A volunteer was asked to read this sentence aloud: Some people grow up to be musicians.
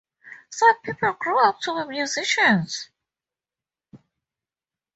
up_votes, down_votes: 2, 0